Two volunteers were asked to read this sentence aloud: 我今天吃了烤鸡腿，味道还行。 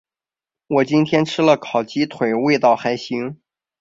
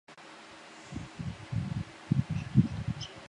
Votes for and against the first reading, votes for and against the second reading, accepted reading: 2, 0, 0, 3, first